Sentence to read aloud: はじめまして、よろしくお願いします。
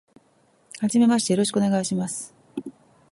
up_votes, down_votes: 3, 0